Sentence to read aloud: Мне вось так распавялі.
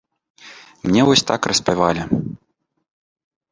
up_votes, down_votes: 0, 2